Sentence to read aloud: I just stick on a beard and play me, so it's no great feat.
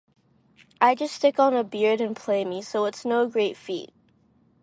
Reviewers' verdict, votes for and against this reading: accepted, 4, 0